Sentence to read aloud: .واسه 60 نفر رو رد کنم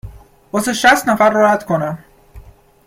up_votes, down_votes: 0, 2